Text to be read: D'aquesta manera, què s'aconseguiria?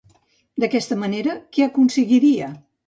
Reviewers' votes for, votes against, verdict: 1, 2, rejected